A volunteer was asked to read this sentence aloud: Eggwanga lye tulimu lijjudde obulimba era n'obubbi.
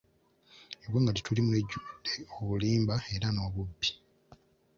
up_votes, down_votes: 1, 2